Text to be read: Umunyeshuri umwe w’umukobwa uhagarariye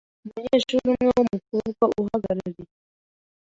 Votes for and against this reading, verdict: 2, 0, accepted